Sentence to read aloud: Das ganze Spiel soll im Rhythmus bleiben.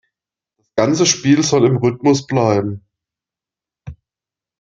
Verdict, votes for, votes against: rejected, 1, 2